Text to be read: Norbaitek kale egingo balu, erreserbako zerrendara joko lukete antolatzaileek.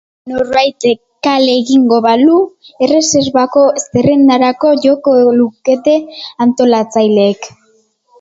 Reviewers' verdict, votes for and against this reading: rejected, 0, 2